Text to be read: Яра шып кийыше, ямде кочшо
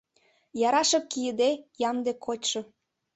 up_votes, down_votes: 0, 2